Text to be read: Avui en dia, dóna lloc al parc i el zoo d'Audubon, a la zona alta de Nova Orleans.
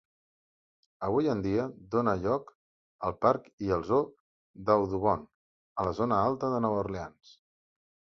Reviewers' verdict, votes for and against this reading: accepted, 2, 0